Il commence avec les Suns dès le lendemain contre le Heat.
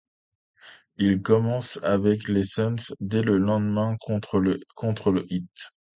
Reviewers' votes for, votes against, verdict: 0, 2, rejected